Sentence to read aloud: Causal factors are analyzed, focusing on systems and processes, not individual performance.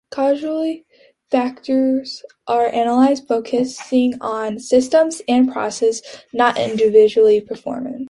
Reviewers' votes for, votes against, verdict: 1, 2, rejected